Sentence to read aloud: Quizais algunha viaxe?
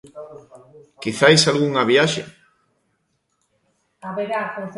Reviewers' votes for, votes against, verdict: 0, 2, rejected